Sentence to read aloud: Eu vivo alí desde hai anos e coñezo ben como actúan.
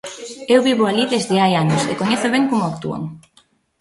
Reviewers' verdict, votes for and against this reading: rejected, 0, 2